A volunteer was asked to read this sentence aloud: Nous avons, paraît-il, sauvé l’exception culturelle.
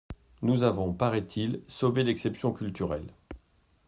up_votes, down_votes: 2, 0